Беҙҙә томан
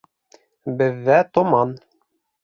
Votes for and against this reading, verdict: 3, 0, accepted